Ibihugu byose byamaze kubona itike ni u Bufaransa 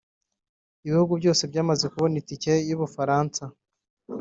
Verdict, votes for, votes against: rejected, 1, 2